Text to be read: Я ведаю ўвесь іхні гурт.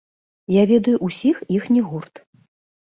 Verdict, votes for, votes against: rejected, 0, 2